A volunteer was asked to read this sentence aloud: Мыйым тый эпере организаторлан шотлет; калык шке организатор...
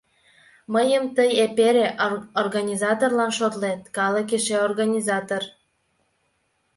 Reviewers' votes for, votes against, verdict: 1, 2, rejected